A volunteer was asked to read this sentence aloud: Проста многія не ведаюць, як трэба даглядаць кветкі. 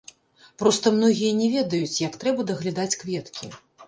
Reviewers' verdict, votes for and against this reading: rejected, 1, 2